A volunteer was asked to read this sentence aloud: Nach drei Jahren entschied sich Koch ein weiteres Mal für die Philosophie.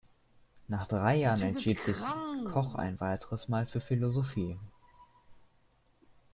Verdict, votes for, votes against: rejected, 1, 2